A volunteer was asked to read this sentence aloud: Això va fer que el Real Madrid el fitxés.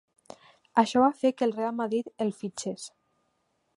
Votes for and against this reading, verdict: 2, 0, accepted